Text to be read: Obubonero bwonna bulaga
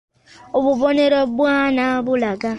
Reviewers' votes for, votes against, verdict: 0, 3, rejected